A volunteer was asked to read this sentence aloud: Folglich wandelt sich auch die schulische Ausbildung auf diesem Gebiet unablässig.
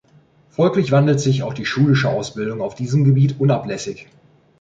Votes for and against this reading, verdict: 2, 0, accepted